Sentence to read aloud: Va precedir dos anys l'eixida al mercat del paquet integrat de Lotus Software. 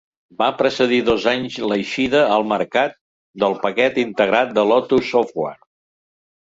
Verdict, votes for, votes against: accepted, 2, 0